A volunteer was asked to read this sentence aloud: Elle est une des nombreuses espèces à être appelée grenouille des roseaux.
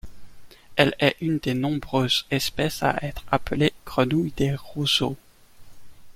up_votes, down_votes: 1, 2